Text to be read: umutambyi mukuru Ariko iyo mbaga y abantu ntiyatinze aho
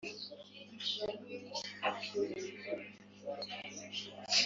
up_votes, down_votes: 4, 3